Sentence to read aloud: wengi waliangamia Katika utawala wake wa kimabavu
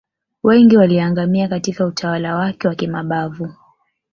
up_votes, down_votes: 2, 1